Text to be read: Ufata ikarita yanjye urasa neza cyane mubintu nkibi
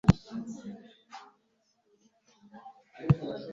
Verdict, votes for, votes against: rejected, 1, 2